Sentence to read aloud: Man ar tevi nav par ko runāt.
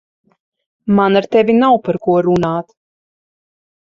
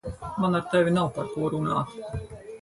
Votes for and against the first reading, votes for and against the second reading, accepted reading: 6, 0, 0, 4, first